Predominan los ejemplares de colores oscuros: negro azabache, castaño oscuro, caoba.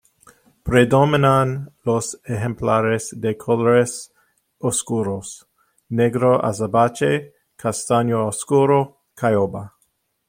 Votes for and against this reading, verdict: 0, 2, rejected